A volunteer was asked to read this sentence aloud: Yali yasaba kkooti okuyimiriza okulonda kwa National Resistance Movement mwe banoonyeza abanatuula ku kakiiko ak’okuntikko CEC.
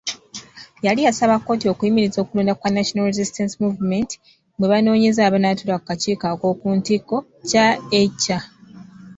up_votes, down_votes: 2, 0